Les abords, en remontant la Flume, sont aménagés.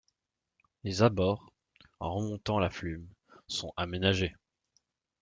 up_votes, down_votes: 2, 0